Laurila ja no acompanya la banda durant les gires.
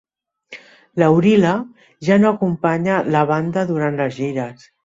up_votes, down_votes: 2, 0